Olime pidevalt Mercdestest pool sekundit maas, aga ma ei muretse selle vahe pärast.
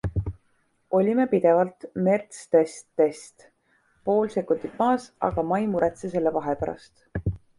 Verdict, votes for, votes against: accepted, 2, 0